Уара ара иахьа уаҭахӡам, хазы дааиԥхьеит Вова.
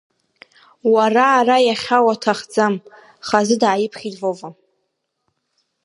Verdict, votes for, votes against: accepted, 2, 0